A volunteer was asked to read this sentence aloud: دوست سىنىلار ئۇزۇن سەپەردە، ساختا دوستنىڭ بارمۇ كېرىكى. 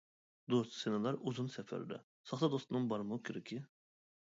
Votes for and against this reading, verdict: 1, 2, rejected